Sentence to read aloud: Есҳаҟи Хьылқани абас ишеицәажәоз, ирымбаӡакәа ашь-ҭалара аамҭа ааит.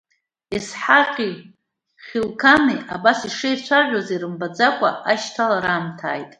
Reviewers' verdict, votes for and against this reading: accepted, 3, 0